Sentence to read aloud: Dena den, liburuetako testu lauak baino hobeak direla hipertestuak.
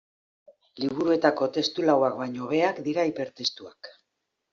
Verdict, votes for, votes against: rejected, 0, 2